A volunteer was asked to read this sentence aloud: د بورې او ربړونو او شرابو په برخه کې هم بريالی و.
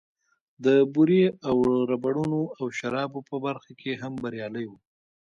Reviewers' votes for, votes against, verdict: 1, 2, rejected